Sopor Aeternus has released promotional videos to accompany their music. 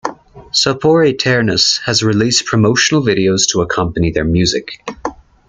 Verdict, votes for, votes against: accepted, 2, 1